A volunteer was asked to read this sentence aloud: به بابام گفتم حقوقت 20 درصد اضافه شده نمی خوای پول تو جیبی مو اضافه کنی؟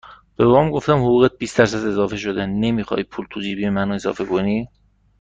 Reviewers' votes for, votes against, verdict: 0, 2, rejected